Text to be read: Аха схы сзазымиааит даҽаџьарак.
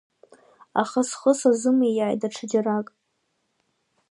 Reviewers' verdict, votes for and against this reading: accepted, 2, 0